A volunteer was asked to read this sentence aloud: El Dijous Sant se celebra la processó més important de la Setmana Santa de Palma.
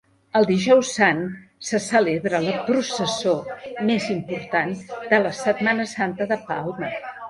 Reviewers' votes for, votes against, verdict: 2, 1, accepted